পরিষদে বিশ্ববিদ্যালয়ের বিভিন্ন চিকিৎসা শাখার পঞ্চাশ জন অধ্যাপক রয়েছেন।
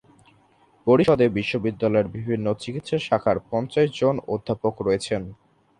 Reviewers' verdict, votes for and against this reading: accepted, 3, 0